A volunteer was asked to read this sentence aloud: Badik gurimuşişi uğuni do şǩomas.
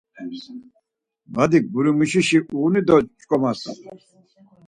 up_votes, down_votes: 4, 0